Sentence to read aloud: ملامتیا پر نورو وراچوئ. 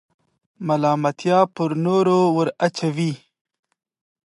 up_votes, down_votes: 2, 0